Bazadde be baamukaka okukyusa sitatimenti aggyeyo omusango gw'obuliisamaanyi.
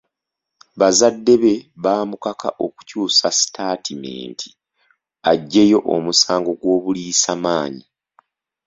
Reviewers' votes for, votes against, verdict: 2, 0, accepted